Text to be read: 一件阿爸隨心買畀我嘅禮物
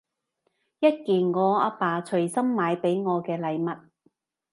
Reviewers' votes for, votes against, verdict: 0, 2, rejected